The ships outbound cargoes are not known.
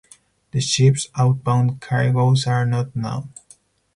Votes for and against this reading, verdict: 2, 2, rejected